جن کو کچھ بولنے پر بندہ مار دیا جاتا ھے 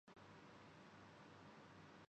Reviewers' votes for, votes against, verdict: 0, 2, rejected